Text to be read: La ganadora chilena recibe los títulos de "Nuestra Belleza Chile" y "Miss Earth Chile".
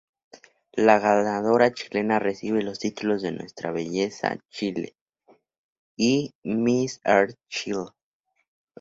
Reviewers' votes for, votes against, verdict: 2, 0, accepted